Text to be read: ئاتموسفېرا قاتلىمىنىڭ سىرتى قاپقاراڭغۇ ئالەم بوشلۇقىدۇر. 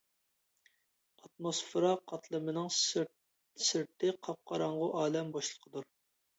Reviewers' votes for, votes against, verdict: 0, 2, rejected